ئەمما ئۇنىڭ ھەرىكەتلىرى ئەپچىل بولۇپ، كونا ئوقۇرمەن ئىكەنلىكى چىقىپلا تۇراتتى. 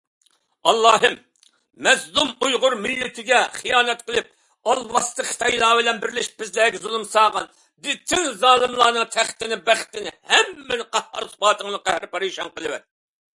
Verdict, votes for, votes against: rejected, 0, 2